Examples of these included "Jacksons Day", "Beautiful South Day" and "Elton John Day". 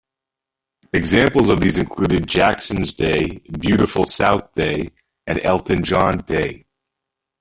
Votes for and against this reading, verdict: 2, 0, accepted